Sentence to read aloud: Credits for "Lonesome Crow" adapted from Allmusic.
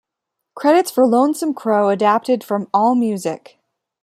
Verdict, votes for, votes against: rejected, 1, 2